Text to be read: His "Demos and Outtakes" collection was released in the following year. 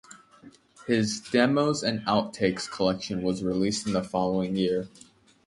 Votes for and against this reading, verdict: 2, 0, accepted